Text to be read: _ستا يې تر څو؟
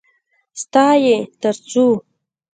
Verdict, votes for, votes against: rejected, 0, 2